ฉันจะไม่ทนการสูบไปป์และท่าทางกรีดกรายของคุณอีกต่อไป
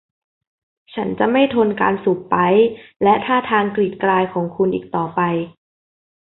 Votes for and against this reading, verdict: 2, 0, accepted